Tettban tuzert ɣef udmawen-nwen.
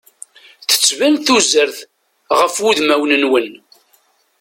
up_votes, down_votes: 2, 0